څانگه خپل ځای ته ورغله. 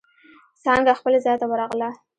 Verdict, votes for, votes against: accepted, 2, 0